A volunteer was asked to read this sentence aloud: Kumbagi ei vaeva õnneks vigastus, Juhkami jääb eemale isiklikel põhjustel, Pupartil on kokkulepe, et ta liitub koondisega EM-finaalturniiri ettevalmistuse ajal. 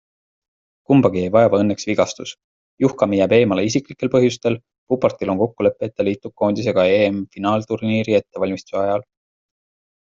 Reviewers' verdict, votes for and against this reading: accepted, 3, 0